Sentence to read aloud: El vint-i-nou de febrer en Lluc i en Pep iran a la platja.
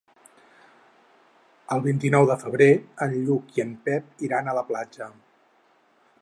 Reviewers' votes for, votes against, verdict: 6, 0, accepted